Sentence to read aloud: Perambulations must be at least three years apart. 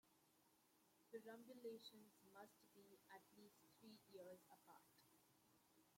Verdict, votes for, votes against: rejected, 1, 2